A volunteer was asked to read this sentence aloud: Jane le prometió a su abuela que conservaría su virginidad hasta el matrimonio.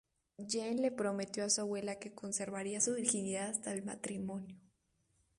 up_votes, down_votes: 0, 2